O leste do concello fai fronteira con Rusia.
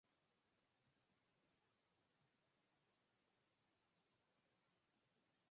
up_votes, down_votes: 0, 4